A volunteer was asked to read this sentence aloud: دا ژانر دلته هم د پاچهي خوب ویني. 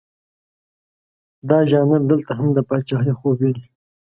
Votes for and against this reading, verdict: 2, 0, accepted